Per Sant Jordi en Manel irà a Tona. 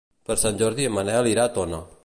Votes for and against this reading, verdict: 2, 0, accepted